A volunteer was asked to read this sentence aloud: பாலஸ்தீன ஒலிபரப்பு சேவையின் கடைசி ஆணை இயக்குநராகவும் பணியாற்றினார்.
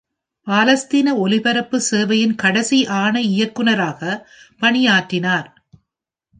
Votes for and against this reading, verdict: 1, 2, rejected